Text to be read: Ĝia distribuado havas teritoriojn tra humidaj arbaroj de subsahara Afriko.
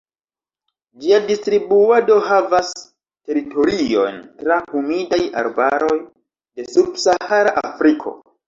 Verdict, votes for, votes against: accepted, 2, 0